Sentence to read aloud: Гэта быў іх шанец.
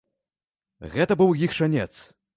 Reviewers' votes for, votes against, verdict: 0, 2, rejected